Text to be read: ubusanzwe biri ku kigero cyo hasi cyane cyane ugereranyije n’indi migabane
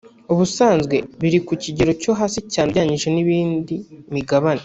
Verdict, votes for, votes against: rejected, 1, 2